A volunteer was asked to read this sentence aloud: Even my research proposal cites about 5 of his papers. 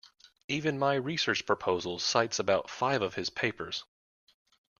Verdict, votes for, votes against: rejected, 0, 2